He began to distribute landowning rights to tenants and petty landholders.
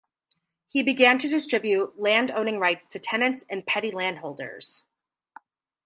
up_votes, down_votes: 4, 0